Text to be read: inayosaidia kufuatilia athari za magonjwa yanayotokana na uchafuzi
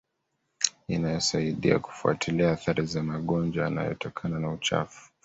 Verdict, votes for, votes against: rejected, 0, 2